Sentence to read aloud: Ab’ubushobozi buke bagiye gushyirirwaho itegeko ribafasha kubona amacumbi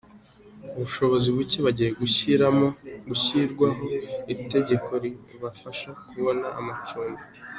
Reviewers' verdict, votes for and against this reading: accepted, 2, 1